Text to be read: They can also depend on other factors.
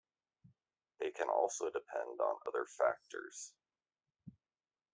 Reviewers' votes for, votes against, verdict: 2, 1, accepted